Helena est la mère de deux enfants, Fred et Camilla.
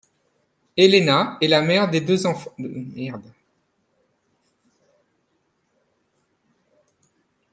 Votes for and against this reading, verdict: 0, 2, rejected